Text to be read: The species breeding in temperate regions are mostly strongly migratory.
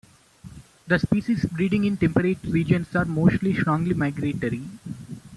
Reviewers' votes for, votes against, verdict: 2, 0, accepted